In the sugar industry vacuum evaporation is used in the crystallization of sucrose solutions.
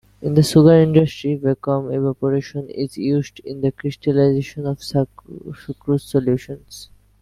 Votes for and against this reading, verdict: 0, 2, rejected